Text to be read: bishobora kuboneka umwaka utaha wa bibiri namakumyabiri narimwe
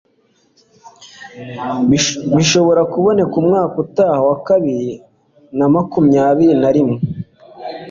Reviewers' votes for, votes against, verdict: 2, 0, accepted